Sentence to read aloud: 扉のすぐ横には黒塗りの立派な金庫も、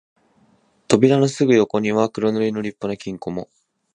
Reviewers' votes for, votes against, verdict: 2, 0, accepted